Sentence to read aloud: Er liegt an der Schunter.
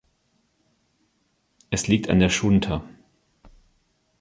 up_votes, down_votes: 0, 2